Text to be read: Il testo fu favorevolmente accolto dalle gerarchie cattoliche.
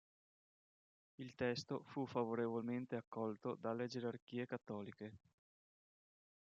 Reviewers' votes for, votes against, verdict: 2, 0, accepted